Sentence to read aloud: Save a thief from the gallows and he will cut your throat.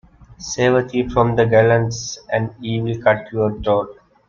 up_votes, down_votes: 1, 2